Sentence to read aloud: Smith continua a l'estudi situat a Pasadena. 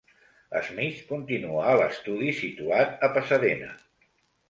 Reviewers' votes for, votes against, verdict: 2, 0, accepted